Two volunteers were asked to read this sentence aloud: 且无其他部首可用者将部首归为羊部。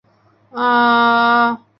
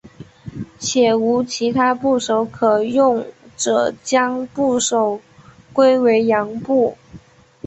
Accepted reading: second